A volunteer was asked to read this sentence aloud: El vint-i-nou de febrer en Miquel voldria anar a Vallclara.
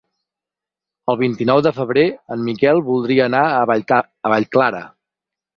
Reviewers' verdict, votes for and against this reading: rejected, 2, 4